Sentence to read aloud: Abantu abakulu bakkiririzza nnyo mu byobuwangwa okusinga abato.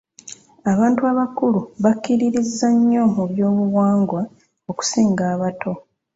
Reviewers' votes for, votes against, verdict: 2, 1, accepted